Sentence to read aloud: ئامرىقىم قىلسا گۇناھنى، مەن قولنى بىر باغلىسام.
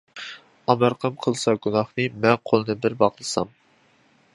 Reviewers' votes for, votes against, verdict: 1, 2, rejected